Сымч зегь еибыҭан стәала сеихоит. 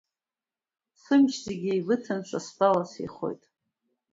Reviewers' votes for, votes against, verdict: 2, 0, accepted